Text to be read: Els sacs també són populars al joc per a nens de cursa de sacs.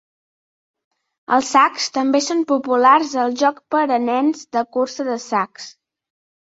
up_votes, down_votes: 3, 0